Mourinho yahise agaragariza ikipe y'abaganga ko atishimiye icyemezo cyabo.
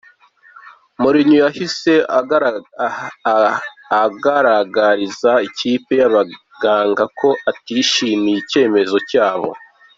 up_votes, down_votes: 1, 2